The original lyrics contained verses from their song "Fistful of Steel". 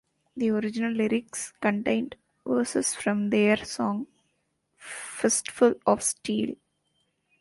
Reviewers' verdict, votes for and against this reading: accepted, 2, 0